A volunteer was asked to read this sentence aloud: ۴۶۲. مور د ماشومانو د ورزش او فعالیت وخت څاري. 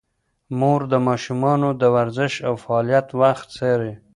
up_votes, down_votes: 0, 2